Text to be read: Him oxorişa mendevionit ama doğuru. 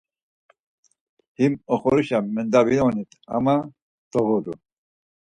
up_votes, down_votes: 2, 4